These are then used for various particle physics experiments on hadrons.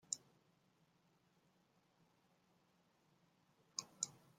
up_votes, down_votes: 0, 2